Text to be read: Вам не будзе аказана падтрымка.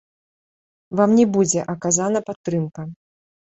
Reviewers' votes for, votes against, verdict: 2, 1, accepted